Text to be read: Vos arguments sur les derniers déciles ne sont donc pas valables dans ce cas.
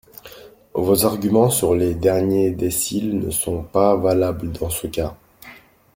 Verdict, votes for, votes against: rejected, 1, 2